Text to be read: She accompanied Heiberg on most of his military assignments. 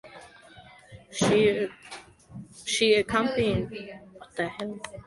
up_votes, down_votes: 0, 2